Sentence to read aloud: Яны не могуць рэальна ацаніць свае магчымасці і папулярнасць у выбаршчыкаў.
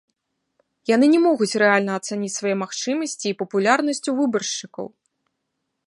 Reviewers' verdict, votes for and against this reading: accepted, 2, 0